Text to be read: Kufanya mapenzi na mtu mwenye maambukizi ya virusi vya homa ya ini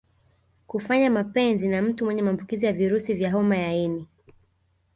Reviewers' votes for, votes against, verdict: 1, 2, rejected